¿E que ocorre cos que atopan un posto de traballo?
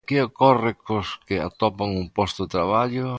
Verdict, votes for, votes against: rejected, 0, 2